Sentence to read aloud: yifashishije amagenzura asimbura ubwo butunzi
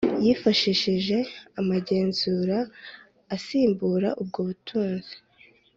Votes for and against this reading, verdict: 2, 0, accepted